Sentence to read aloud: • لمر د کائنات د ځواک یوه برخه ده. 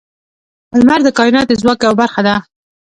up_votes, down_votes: 2, 0